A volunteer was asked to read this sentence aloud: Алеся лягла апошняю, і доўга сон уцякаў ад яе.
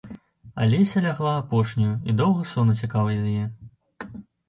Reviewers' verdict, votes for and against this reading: accepted, 2, 1